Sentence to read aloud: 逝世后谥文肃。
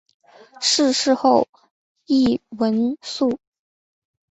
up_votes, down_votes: 4, 2